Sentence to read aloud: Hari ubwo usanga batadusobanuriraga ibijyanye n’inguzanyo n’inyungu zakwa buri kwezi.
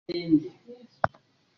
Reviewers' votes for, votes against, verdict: 0, 2, rejected